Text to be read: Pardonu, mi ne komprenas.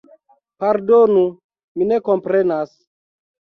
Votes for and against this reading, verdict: 2, 0, accepted